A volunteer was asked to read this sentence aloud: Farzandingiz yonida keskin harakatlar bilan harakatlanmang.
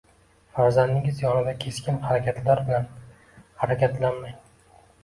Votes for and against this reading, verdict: 2, 0, accepted